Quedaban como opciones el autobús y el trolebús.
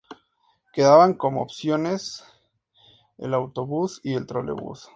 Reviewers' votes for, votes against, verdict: 2, 0, accepted